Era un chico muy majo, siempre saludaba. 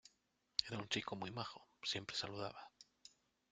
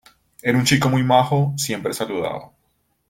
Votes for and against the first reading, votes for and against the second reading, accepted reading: 0, 2, 2, 0, second